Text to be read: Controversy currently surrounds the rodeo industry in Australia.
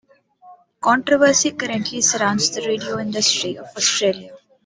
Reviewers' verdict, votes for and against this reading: accepted, 2, 0